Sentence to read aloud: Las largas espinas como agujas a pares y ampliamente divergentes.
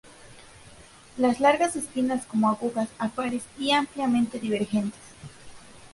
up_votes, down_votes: 2, 0